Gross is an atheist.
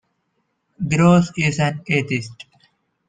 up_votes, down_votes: 2, 0